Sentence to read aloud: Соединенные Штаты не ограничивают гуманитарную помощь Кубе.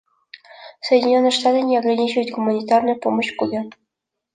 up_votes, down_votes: 2, 1